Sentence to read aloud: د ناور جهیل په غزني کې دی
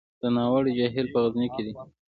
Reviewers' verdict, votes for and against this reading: accepted, 2, 0